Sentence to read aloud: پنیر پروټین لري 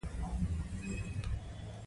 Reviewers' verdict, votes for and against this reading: rejected, 1, 2